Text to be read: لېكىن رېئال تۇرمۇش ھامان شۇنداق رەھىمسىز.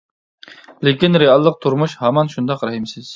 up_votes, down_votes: 0, 2